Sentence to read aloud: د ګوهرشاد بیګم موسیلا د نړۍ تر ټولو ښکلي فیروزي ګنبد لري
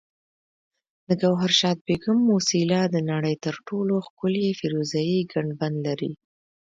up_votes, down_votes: 0, 2